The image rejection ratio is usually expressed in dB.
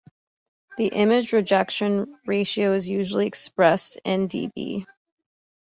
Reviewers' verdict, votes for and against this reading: accepted, 2, 0